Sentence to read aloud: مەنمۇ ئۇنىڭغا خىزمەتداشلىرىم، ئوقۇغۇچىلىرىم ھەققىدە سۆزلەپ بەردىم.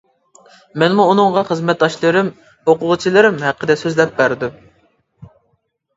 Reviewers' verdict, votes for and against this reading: accepted, 2, 0